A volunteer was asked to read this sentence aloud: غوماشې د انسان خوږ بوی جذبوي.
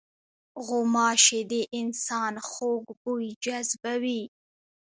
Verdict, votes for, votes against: rejected, 0, 2